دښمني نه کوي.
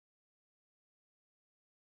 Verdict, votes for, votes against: rejected, 1, 2